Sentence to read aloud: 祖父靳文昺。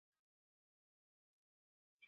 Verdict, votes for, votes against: rejected, 1, 4